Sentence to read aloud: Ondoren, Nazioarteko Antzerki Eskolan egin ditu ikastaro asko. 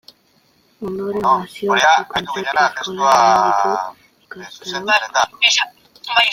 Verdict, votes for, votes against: rejected, 0, 2